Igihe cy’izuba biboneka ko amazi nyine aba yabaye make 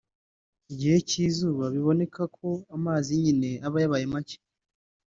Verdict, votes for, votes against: rejected, 1, 2